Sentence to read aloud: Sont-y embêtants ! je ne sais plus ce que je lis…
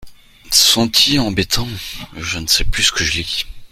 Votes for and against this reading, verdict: 2, 0, accepted